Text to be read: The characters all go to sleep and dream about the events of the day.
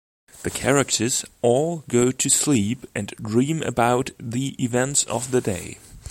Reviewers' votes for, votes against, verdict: 3, 0, accepted